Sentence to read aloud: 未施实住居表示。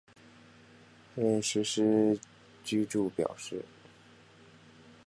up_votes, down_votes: 1, 2